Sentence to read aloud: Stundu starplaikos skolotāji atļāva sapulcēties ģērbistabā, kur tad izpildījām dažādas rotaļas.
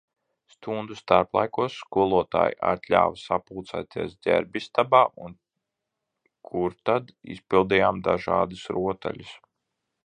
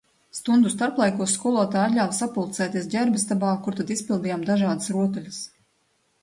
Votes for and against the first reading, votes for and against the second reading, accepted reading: 0, 2, 2, 0, second